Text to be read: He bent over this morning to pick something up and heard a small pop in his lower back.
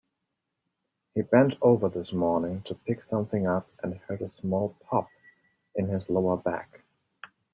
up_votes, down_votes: 2, 0